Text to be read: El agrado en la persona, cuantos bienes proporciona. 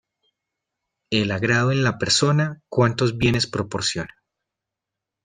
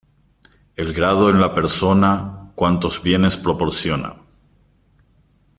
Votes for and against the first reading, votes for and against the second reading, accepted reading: 2, 0, 0, 2, first